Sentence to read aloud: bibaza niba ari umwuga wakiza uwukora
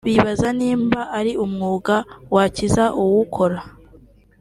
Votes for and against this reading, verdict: 2, 0, accepted